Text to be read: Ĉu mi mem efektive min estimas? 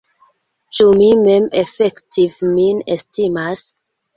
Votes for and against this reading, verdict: 1, 2, rejected